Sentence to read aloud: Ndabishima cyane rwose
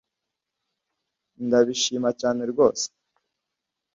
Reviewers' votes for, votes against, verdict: 2, 0, accepted